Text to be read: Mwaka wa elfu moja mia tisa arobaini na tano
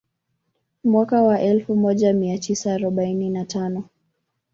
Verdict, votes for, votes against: rejected, 0, 2